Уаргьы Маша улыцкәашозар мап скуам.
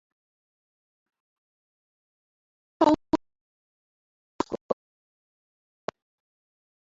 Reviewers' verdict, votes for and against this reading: rejected, 0, 2